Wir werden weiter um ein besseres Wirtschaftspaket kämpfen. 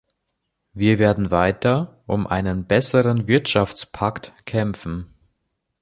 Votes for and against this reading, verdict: 0, 2, rejected